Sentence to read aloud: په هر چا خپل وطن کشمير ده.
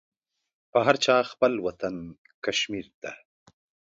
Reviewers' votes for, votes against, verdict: 2, 0, accepted